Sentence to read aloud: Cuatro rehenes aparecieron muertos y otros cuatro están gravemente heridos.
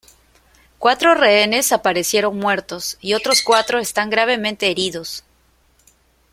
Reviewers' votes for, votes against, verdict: 1, 2, rejected